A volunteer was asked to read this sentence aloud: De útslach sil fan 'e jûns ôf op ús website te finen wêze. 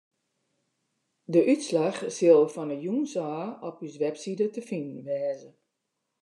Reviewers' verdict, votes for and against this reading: accepted, 2, 0